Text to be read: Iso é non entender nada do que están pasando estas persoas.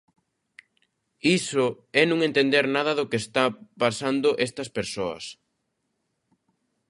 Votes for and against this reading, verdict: 0, 3, rejected